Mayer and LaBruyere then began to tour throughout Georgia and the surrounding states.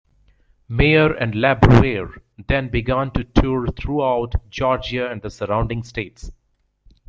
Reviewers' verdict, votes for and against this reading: rejected, 1, 2